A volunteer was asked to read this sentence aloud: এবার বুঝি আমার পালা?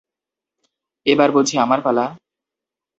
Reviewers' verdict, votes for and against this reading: accepted, 2, 0